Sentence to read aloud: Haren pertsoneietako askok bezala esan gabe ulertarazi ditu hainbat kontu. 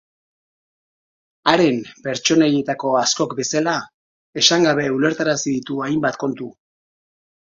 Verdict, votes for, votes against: accepted, 2, 1